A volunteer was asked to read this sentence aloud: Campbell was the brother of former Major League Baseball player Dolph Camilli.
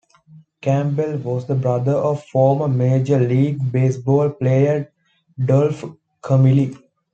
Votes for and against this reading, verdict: 2, 0, accepted